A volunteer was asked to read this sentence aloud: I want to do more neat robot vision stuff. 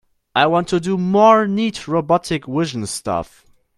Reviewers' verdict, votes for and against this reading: rejected, 1, 2